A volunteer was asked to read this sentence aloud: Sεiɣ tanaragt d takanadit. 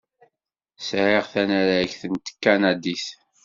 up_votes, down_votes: 0, 2